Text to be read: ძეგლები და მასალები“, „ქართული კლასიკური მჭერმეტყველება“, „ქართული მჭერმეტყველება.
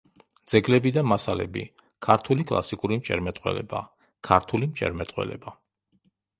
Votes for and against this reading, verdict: 2, 0, accepted